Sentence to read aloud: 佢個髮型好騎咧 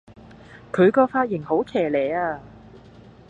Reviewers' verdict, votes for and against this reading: rejected, 1, 2